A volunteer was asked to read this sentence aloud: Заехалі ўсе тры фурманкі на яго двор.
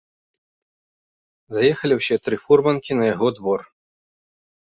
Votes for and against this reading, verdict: 1, 2, rejected